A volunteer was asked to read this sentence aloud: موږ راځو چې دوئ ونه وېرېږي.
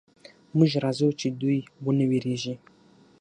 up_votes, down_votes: 6, 0